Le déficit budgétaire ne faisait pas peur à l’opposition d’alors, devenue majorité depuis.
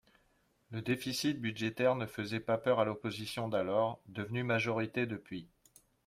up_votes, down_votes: 2, 0